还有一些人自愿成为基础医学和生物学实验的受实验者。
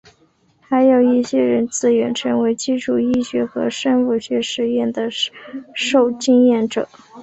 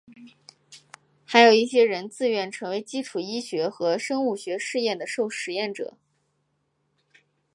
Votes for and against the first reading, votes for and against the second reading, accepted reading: 1, 3, 3, 0, second